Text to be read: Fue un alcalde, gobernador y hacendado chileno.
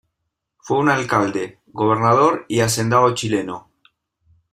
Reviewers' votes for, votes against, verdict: 2, 0, accepted